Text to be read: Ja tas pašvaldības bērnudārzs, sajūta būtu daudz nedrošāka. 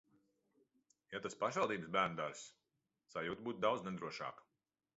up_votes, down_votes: 2, 0